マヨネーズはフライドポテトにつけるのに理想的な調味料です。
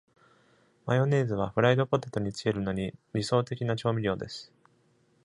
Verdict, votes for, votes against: accepted, 2, 0